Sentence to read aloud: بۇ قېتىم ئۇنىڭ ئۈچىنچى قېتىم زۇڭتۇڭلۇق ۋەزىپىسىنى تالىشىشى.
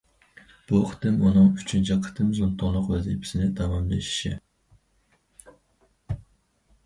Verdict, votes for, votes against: rejected, 0, 4